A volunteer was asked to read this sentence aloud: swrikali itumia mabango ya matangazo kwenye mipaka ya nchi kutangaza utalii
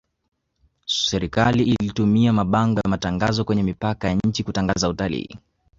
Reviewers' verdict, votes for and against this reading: rejected, 0, 2